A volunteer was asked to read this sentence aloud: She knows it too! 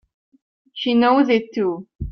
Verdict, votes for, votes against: accepted, 3, 0